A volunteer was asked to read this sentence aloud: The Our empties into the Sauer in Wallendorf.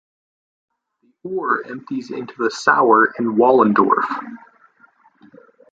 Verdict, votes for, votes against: rejected, 0, 2